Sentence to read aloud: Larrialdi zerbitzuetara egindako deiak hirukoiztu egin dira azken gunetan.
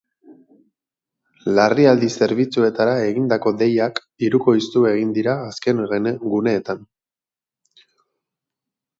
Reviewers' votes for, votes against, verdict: 0, 6, rejected